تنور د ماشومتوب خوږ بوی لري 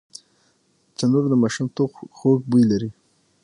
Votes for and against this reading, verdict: 6, 3, accepted